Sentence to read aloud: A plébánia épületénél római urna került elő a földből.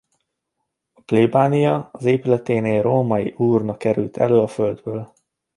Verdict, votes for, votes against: rejected, 0, 2